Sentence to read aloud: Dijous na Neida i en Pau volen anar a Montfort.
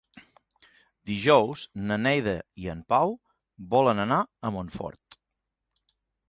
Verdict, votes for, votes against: accepted, 3, 0